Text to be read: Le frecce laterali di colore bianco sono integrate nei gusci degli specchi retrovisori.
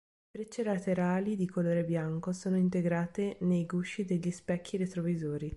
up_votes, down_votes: 3, 1